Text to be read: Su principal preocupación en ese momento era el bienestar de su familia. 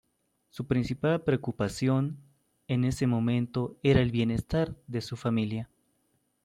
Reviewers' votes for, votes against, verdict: 2, 1, accepted